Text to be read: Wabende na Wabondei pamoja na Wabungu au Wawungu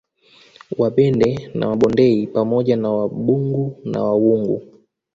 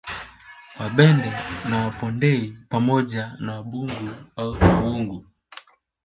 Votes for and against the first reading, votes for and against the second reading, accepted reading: 2, 0, 0, 2, first